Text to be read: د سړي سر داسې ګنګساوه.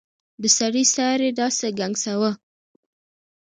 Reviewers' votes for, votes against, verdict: 2, 0, accepted